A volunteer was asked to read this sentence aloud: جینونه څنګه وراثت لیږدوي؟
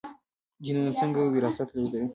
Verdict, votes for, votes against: accepted, 2, 0